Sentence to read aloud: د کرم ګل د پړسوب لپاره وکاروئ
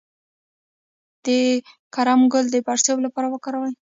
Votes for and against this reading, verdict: 1, 2, rejected